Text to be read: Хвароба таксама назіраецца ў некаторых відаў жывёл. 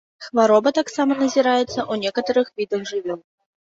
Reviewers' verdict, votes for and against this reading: rejected, 0, 2